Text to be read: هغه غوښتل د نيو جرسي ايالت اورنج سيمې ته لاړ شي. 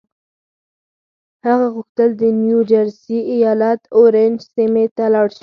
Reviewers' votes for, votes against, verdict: 4, 0, accepted